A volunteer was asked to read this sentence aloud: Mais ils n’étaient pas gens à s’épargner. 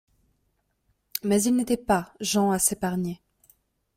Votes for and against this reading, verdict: 2, 0, accepted